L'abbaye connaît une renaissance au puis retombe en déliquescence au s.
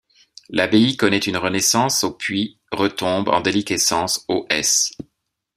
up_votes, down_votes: 2, 1